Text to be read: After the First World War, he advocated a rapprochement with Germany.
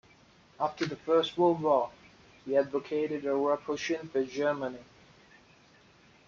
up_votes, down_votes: 2, 1